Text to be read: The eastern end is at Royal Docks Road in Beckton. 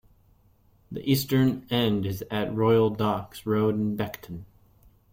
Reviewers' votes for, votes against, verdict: 2, 0, accepted